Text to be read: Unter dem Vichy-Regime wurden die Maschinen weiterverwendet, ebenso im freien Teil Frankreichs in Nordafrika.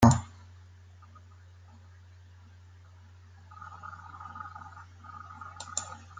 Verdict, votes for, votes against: rejected, 0, 2